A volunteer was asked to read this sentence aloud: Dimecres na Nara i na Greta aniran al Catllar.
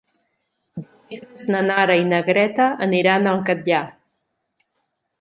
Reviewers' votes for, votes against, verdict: 0, 2, rejected